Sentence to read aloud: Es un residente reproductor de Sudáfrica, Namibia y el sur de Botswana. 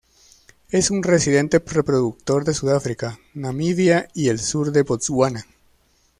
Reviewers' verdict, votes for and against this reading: rejected, 0, 2